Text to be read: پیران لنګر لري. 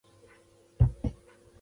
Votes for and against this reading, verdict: 1, 2, rejected